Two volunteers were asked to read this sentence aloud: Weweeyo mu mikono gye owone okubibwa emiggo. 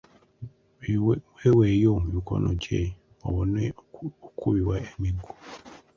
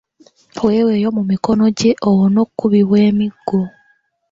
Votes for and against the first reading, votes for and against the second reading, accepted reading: 0, 2, 2, 1, second